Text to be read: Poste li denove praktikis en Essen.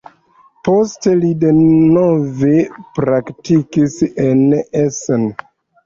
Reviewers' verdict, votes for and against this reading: accepted, 2, 0